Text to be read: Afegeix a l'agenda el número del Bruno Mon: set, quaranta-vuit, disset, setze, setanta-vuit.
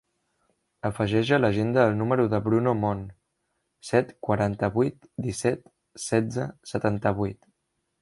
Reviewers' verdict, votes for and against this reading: rejected, 0, 2